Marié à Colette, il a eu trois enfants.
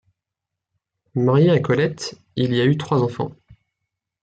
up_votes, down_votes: 2, 3